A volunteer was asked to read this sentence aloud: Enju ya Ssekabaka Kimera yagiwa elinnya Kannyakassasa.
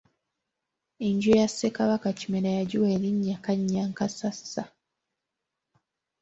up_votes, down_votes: 3, 0